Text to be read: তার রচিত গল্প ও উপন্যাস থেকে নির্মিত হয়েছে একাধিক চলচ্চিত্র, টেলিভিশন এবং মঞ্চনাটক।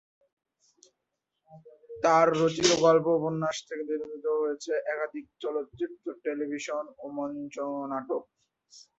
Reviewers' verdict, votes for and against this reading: rejected, 0, 2